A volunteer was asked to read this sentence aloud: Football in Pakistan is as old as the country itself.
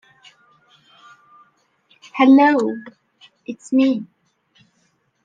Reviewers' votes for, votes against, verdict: 0, 2, rejected